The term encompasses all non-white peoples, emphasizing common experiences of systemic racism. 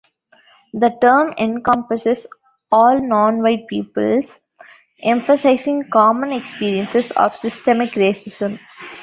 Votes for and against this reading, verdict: 2, 0, accepted